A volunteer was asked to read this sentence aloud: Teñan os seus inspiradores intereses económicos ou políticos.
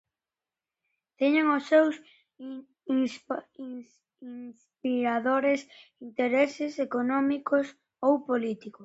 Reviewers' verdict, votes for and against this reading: rejected, 0, 2